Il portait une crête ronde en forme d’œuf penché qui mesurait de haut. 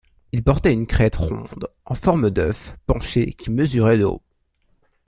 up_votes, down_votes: 0, 2